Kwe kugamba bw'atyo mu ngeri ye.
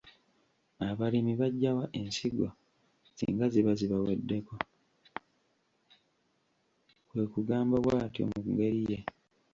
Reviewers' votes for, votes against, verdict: 1, 2, rejected